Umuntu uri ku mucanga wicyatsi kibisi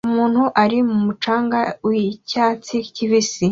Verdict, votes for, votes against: accepted, 2, 0